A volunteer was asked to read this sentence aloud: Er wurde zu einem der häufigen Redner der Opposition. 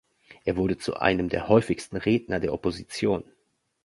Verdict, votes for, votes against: rejected, 0, 2